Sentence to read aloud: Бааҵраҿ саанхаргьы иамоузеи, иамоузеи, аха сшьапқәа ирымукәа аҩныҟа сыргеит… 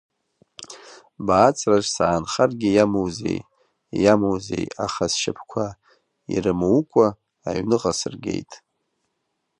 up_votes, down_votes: 2, 0